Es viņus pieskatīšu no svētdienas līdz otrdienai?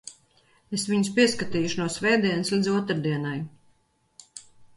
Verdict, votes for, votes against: rejected, 2, 4